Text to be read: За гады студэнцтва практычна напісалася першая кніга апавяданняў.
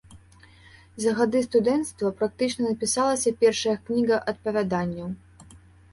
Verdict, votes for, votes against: accepted, 2, 0